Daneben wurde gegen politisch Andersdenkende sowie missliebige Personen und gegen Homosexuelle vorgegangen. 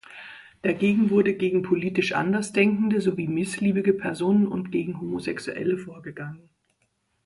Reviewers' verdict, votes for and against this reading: rejected, 1, 2